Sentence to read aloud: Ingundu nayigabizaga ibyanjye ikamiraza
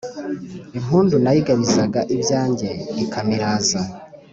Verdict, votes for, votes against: accepted, 5, 0